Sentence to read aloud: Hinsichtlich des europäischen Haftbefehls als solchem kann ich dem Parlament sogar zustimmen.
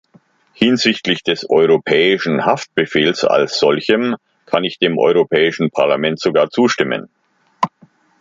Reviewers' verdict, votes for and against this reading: rejected, 0, 2